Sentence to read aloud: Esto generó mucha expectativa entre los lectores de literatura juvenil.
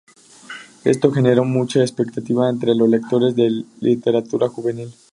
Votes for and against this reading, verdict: 0, 2, rejected